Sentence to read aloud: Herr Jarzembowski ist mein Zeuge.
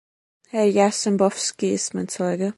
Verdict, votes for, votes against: accepted, 2, 0